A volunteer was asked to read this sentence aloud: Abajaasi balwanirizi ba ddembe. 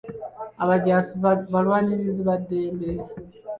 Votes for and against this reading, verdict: 2, 1, accepted